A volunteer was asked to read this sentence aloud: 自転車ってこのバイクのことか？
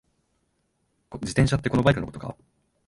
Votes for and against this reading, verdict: 1, 2, rejected